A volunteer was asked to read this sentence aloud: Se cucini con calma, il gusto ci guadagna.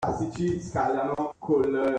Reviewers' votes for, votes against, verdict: 0, 2, rejected